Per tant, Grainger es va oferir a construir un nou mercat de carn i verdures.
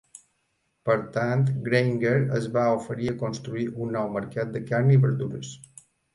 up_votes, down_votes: 2, 0